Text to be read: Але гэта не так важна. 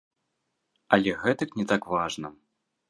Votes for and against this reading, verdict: 0, 2, rejected